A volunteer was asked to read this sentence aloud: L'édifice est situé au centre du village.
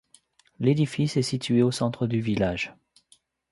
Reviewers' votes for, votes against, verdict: 2, 0, accepted